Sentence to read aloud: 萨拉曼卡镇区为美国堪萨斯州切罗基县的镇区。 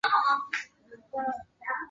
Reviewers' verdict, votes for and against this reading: rejected, 0, 3